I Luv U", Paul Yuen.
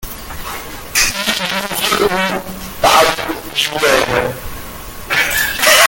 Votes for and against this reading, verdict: 0, 3, rejected